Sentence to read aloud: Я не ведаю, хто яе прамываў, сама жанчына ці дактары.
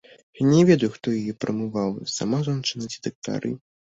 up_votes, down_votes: 0, 2